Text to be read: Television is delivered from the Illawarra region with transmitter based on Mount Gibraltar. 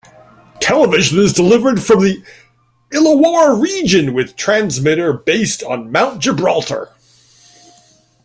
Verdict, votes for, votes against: accepted, 2, 0